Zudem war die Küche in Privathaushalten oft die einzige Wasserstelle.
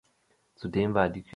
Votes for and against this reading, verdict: 0, 2, rejected